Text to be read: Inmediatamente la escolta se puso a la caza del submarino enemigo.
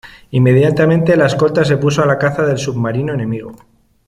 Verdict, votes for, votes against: accepted, 2, 0